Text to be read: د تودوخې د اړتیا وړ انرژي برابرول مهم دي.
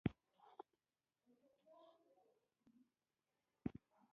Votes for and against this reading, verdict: 0, 2, rejected